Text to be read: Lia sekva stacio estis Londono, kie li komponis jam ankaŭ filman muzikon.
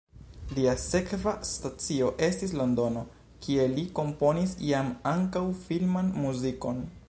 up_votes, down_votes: 2, 1